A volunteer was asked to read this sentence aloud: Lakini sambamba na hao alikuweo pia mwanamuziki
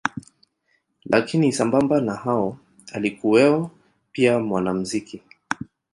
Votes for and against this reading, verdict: 2, 0, accepted